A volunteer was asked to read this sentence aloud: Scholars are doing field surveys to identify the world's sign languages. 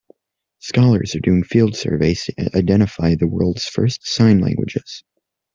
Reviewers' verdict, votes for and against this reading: rejected, 0, 2